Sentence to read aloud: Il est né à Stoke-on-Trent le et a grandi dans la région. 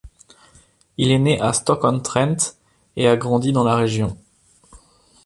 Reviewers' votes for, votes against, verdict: 1, 2, rejected